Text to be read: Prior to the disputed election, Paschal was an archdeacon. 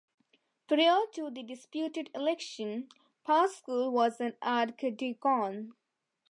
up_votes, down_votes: 0, 2